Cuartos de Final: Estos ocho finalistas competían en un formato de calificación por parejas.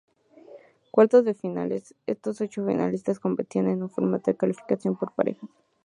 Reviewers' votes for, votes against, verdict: 0, 2, rejected